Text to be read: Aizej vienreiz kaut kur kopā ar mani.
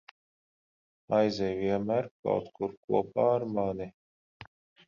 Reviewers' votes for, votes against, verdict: 0, 10, rejected